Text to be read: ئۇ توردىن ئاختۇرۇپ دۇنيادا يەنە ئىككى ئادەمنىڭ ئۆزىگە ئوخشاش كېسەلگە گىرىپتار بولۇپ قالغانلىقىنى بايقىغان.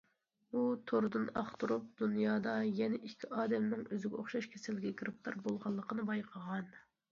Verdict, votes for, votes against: rejected, 0, 2